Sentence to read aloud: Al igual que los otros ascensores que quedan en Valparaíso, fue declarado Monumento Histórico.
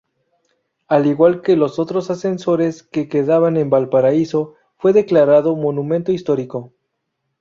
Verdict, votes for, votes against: rejected, 0, 2